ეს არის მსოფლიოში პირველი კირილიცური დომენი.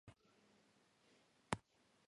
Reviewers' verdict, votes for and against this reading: rejected, 0, 2